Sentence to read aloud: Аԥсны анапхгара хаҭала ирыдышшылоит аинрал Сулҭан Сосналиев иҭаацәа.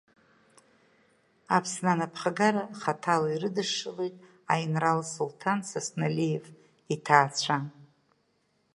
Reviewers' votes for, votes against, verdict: 1, 2, rejected